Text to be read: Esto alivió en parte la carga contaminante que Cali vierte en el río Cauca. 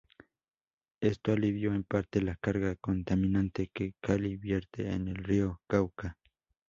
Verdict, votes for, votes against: accepted, 2, 0